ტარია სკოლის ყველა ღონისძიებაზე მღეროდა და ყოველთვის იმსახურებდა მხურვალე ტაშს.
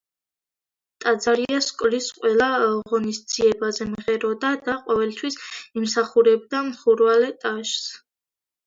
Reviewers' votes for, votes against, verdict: 0, 2, rejected